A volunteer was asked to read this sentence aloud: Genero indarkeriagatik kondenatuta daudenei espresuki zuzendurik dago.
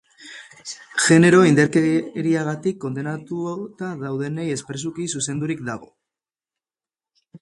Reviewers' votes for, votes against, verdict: 2, 2, rejected